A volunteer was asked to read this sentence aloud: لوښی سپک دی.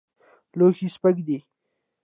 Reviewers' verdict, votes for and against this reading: rejected, 1, 2